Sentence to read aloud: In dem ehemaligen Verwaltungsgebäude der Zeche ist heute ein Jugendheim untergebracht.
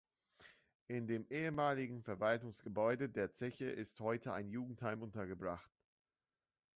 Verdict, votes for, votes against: accepted, 2, 0